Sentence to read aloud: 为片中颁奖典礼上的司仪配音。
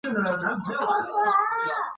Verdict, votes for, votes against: rejected, 0, 2